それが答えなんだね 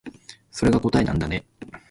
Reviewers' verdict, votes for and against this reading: accepted, 2, 1